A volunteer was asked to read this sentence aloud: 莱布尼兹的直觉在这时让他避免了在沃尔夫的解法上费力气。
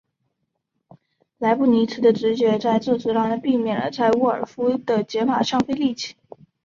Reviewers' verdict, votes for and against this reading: accepted, 2, 0